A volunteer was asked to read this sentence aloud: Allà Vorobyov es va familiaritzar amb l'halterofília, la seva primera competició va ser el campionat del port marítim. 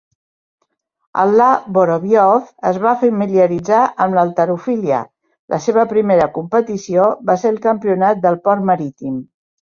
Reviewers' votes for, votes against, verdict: 1, 2, rejected